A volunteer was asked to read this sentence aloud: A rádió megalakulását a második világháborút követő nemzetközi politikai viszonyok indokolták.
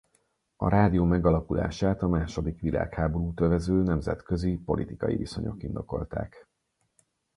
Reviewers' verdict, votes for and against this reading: rejected, 0, 4